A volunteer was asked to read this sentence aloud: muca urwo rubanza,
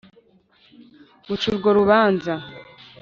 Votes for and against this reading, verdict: 2, 0, accepted